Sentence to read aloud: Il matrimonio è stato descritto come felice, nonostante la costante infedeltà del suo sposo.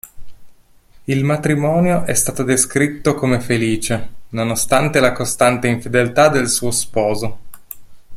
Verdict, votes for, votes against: accepted, 2, 0